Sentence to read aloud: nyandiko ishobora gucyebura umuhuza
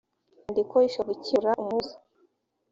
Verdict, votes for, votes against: rejected, 2, 3